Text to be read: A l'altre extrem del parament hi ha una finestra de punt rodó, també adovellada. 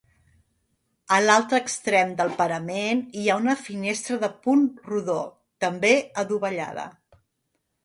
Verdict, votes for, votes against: accepted, 2, 0